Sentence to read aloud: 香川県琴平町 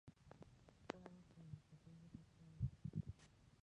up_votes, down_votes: 0, 2